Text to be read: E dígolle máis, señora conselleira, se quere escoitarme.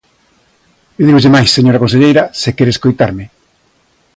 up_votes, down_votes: 2, 0